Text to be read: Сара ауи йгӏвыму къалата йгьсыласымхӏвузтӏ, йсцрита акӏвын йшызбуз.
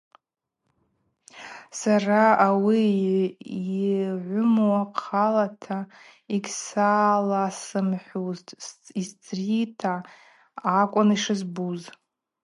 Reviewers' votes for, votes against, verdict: 0, 2, rejected